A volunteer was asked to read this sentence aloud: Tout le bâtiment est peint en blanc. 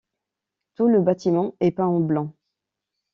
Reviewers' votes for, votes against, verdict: 2, 0, accepted